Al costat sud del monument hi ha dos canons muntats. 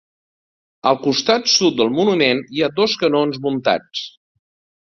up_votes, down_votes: 2, 0